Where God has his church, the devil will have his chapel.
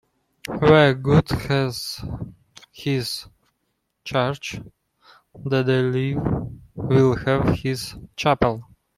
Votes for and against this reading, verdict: 1, 2, rejected